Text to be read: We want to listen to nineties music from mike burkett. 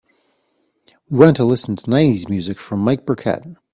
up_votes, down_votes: 2, 0